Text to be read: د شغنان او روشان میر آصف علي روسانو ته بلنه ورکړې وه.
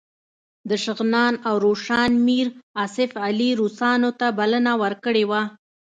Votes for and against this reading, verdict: 2, 0, accepted